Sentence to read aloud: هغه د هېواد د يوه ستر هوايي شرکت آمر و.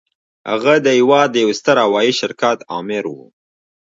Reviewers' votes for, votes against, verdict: 1, 2, rejected